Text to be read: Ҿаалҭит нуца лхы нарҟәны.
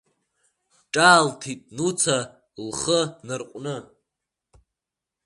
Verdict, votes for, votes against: rejected, 0, 2